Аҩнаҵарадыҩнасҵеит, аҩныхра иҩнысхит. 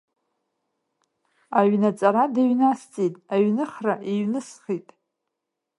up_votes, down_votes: 2, 1